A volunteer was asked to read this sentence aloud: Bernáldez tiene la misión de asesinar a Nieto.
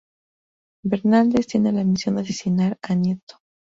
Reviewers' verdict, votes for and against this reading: rejected, 2, 2